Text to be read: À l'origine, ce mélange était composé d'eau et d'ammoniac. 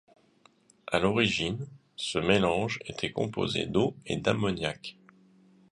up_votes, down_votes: 2, 0